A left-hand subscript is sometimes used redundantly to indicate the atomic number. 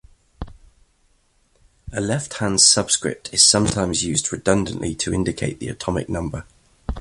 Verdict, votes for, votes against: accepted, 2, 0